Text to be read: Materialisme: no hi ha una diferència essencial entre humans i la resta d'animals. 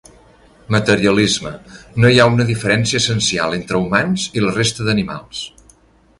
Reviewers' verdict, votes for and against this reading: accepted, 6, 0